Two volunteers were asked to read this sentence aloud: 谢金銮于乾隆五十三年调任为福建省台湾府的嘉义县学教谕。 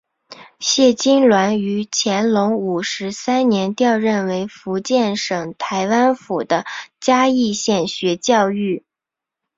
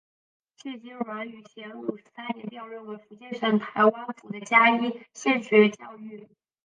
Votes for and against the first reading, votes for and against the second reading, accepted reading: 2, 0, 0, 4, first